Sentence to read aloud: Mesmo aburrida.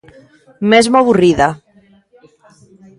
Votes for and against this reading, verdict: 1, 2, rejected